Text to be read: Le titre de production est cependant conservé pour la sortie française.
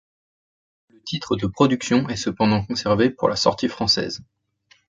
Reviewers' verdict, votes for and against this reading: rejected, 1, 2